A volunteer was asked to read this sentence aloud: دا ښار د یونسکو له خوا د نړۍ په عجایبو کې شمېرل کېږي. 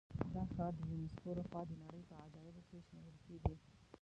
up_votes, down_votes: 0, 2